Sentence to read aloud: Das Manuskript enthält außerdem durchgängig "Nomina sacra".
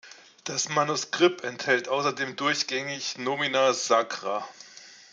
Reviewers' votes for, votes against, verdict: 2, 0, accepted